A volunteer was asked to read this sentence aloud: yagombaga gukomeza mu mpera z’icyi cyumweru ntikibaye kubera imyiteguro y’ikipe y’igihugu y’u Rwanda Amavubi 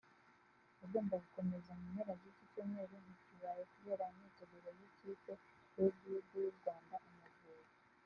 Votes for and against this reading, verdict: 3, 5, rejected